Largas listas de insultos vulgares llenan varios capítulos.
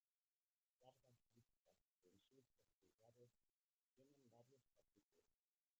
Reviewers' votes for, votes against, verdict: 0, 2, rejected